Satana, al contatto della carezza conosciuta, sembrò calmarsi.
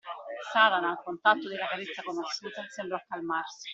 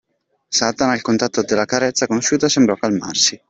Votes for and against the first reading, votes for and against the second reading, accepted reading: 1, 2, 2, 1, second